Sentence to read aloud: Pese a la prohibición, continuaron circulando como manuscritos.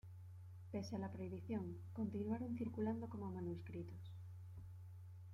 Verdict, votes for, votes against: accepted, 2, 0